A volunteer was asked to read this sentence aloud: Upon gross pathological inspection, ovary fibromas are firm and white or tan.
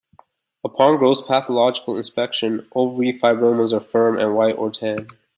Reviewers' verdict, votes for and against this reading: accepted, 2, 1